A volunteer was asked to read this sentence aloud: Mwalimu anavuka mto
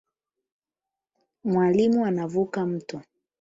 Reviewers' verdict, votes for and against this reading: accepted, 8, 0